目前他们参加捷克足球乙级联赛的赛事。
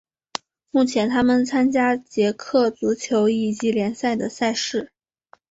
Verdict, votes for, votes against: accepted, 2, 0